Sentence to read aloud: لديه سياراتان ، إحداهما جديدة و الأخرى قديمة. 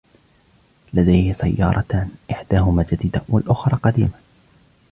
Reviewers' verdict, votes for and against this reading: accepted, 2, 1